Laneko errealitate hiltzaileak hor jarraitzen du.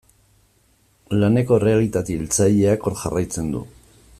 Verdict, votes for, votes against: accepted, 2, 0